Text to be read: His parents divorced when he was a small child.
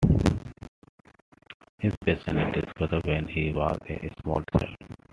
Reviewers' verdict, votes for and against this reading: rejected, 0, 2